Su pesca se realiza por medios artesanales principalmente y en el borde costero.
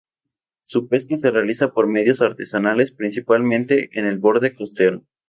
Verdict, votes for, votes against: rejected, 0, 2